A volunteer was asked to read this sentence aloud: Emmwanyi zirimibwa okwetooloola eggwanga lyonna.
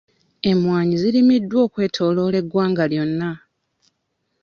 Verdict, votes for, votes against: rejected, 1, 2